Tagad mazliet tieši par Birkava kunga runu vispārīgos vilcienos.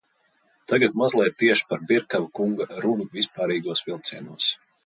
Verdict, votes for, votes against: accepted, 2, 0